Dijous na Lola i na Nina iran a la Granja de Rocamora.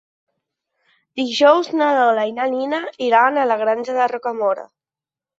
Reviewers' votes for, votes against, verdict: 3, 0, accepted